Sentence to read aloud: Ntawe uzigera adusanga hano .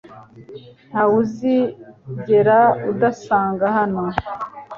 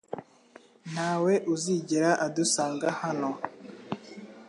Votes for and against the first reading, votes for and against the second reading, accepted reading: 1, 2, 2, 0, second